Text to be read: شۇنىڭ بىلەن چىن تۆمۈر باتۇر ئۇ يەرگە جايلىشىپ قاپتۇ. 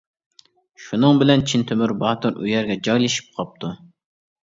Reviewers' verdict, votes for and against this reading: accepted, 2, 0